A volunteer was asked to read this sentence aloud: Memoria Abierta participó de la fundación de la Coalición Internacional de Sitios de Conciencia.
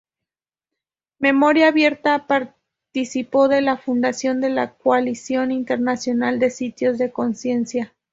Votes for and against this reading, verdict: 2, 0, accepted